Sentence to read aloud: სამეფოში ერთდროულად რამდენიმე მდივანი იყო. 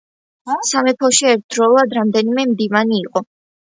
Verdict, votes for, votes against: accepted, 2, 0